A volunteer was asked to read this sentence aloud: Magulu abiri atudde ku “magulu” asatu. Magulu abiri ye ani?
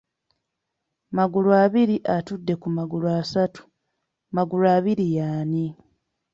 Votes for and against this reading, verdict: 2, 0, accepted